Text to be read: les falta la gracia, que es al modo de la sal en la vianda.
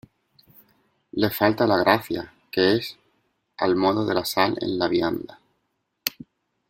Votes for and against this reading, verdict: 2, 0, accepted